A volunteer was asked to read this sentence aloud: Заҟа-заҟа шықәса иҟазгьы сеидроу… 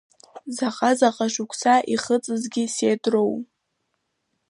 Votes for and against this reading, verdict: 1, 2, rejected